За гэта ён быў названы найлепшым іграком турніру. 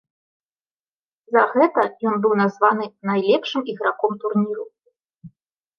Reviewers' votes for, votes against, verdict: 0, 2, rejected